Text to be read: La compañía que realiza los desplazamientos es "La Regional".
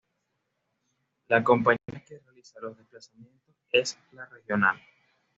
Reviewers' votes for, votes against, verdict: 1, 2, rejected